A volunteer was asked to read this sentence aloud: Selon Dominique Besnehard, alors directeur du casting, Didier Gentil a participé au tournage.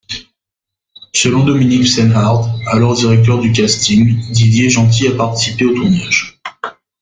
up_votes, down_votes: 0, 2